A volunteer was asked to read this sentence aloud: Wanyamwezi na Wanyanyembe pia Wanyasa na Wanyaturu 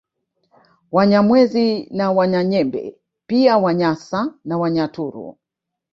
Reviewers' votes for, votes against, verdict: 3, 0, accepted